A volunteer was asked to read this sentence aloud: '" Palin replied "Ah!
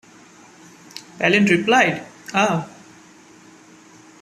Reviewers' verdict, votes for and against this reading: accepted, 2, 0